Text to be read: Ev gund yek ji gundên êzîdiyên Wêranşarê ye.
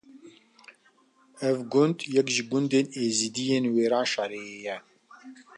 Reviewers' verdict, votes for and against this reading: accepted, 2, 0